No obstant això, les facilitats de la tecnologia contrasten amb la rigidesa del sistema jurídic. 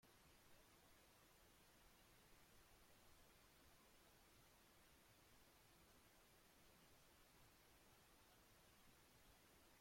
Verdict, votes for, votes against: rejected, 0, 2